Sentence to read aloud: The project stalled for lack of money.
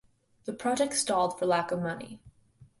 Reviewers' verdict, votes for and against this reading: accepted, 2, 0